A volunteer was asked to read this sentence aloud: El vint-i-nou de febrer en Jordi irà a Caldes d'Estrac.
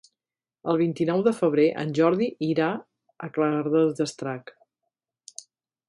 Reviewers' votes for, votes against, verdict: 1, 2, rejected